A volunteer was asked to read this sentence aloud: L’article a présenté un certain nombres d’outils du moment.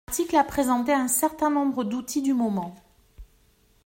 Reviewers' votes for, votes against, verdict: 1, 2, rejected